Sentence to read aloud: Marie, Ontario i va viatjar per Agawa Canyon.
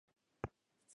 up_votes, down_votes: 0, 3